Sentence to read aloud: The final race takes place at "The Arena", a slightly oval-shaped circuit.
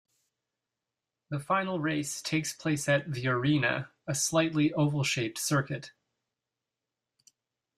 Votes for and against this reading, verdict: 2, 0, accepted